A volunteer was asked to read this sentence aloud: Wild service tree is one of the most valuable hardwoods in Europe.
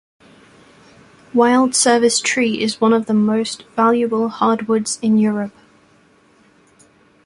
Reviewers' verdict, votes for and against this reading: accepted, 2, 0